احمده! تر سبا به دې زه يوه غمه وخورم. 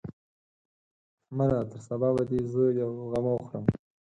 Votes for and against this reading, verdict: 4, 2, accepted